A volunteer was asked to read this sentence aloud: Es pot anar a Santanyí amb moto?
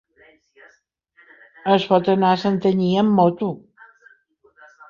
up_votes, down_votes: 1, 2